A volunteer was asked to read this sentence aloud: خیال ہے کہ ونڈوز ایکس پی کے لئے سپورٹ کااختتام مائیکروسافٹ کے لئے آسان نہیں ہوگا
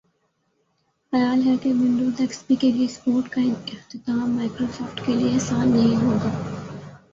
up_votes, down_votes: 3, 0